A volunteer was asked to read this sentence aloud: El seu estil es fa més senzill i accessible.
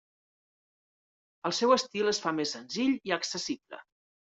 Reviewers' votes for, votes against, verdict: 3, 0, accepted